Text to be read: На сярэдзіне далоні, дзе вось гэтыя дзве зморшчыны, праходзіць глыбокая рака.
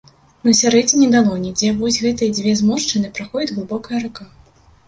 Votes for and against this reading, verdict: 2, 1, accepted